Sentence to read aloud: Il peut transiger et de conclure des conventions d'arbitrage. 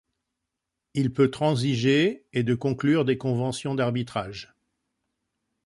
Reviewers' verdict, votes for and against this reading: accepted, 2, 1